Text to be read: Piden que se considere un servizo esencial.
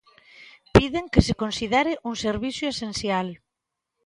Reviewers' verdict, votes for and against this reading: rejected, 1, 2